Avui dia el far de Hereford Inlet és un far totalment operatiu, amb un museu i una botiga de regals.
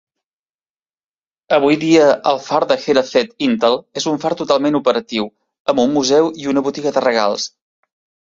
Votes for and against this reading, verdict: 1, 2, rejected